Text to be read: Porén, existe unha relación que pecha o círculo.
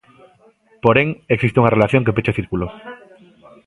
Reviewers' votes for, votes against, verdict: 0, 2, rejected